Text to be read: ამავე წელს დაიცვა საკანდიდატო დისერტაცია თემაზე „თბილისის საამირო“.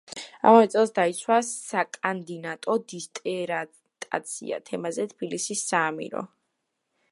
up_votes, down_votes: 1, 2